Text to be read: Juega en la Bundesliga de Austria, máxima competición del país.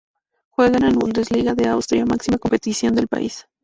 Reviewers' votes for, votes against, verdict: 2, 0, accepted